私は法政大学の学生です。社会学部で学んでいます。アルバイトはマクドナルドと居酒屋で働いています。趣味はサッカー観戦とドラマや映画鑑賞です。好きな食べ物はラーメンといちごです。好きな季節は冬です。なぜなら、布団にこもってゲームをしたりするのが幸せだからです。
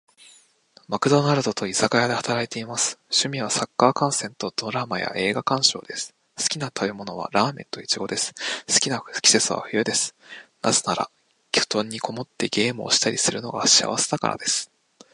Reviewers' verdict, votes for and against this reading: rejected, 1, 2